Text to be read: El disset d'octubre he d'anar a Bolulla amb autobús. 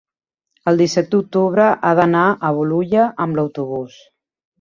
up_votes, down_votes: 0, 2